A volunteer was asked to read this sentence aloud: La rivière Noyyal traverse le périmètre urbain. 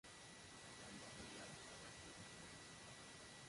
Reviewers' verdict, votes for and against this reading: rejected, 0, 2